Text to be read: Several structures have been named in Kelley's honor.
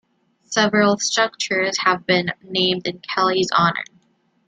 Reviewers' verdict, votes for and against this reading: accepted, 2, 0